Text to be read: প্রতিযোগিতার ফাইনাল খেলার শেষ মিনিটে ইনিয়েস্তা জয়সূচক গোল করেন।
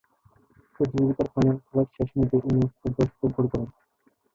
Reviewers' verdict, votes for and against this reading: rejected, 0, 2